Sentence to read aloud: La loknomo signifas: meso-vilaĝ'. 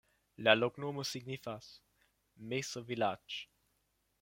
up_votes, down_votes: 2, 0